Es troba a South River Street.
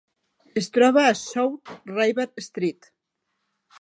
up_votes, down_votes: 0, 4